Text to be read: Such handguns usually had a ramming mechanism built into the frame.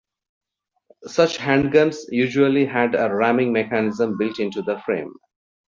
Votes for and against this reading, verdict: 2, 0, accepted